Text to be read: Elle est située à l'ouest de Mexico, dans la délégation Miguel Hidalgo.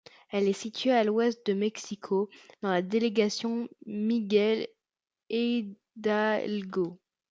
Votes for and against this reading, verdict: 1, 2, rejected